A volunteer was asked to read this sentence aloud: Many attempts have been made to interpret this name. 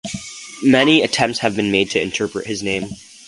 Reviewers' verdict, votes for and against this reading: accepted, 2, 0